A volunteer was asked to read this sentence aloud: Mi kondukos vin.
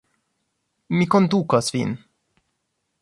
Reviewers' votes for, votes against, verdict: 2, 0, accepted